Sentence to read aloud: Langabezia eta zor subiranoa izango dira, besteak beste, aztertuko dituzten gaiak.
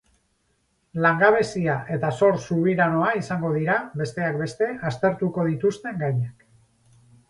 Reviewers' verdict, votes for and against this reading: rejected, 0, 2